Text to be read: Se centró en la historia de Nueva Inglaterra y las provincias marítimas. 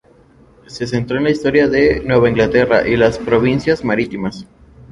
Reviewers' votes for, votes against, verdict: 2, 2, rejected